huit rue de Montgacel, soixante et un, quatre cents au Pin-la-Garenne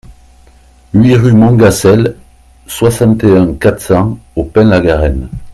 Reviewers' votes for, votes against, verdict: 2, 1, accepted